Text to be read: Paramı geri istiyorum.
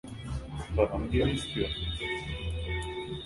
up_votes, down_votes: 1, 2